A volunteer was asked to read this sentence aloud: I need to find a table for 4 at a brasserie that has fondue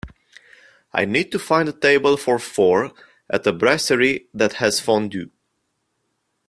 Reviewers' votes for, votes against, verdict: 0, 2, rejected